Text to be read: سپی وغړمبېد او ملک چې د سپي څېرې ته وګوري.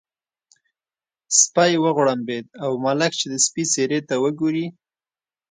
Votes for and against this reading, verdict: 2, 0, accepted